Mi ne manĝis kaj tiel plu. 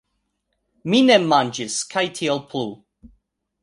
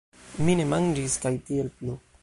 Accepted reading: first